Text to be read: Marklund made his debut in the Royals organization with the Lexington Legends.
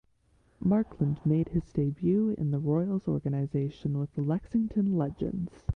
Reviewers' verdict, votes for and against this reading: accepted, 2, 0